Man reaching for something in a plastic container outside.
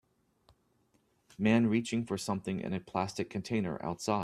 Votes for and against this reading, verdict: 0, 2, rejected